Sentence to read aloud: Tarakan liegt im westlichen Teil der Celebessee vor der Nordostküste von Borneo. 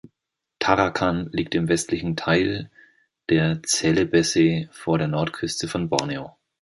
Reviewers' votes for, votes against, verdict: 0, 2, rejected